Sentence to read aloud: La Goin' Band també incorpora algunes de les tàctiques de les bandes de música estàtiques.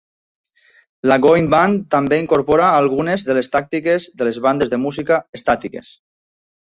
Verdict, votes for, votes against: accepted, 2, 0